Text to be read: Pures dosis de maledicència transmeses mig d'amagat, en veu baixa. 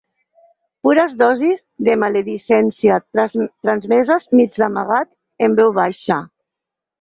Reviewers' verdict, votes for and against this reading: rejected, 2, 4